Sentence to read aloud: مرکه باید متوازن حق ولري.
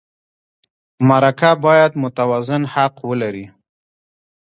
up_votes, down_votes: 2, 0